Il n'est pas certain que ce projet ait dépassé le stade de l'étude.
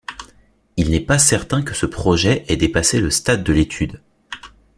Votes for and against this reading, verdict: 2, 0, accepted